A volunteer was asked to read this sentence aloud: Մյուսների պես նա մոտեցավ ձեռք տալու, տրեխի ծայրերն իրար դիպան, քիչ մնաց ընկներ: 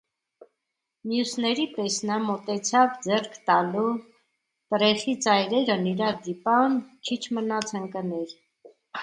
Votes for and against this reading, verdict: 2, 0, accepted